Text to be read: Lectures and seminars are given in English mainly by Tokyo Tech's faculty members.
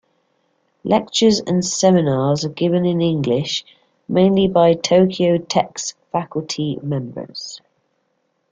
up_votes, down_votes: 2, 0